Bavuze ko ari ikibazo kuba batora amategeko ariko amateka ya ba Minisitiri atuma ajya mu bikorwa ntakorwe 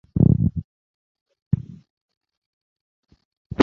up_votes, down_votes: 0, 2